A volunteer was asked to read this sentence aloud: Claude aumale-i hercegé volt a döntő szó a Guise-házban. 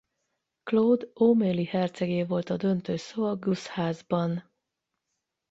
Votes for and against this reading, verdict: 0, 4, rejected